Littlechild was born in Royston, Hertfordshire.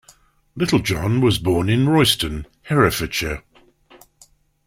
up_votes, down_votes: 0, 2